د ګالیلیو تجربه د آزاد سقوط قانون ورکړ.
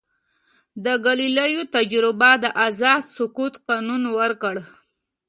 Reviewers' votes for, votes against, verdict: 2, 0, accepted